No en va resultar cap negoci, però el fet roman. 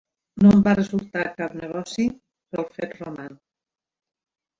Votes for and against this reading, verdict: 1, 2, rejected